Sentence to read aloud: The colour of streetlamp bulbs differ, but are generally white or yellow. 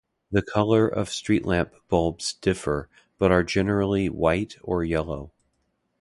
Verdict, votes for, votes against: accepted, 2, 0